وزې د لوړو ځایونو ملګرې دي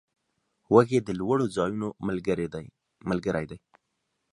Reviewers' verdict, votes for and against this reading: rejected, 0, 2